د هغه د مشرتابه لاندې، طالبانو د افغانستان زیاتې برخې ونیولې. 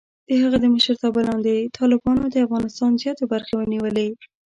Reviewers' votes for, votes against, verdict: 2, 0, accepted